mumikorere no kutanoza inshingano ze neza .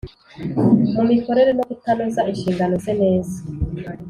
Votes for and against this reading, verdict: 2, 0, accepted